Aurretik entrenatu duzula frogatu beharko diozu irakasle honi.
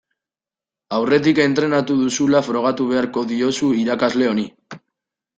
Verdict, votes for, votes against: accepted, 2, 0